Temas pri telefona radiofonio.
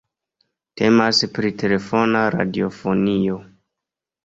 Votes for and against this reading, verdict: 2, 0, accepted